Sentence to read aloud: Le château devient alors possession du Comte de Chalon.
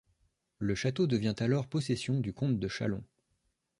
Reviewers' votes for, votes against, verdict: 2, 0, accepted